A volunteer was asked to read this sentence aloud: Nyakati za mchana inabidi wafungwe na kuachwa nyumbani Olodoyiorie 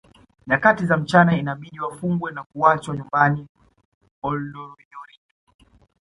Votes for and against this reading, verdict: 2, 1, accepted